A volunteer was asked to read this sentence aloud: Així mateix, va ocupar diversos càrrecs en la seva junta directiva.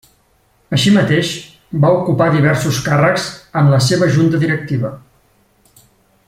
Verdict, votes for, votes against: accepted, 3, 0